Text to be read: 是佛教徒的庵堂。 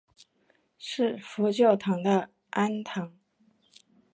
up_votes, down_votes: 2, 3